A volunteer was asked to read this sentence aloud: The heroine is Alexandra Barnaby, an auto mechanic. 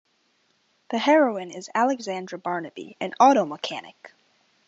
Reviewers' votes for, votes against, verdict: 2, 0, accepted